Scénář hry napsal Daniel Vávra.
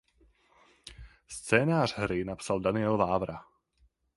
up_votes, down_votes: 4, 0